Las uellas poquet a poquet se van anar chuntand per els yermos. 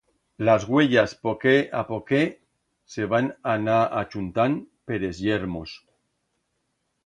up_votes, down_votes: 1, 2